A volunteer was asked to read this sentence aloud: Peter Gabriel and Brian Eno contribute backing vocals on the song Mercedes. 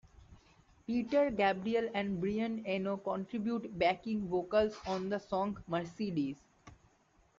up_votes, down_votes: 2, 1